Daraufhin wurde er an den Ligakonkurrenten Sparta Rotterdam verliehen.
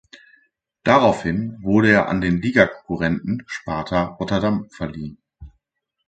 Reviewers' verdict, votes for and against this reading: accepted, 2, 0